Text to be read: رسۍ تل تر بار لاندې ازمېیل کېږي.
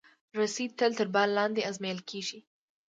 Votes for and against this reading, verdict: 2, 0, accepted